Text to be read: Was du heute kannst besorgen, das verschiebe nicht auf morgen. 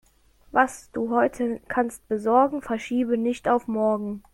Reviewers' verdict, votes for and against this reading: rejected, 0, 2